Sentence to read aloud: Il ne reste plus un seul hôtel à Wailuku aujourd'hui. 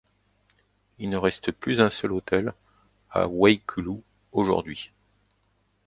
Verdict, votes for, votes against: rejected, 0, 2